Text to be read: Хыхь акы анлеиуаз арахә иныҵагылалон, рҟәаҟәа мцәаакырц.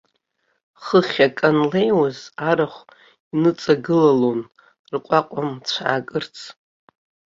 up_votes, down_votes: 2, 0